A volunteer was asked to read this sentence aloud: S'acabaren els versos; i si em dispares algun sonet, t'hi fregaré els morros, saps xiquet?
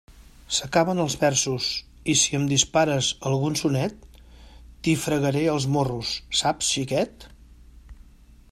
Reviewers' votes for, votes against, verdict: 0, 2, rejected